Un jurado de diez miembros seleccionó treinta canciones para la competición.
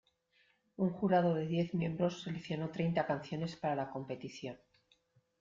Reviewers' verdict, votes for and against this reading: accepted, 2, 1